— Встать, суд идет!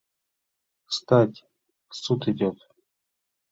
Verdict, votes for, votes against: accepted, 2, 0